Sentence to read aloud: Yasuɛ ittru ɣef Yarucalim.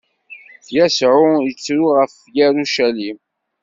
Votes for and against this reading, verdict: 1, 2, rejected